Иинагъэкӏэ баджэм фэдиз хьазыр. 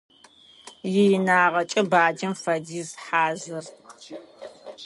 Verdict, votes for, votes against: accepted, 2, 1